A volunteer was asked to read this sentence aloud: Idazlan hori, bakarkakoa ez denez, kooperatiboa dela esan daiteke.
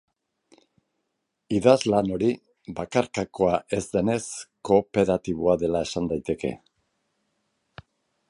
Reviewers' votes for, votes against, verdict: 3, 0, accepted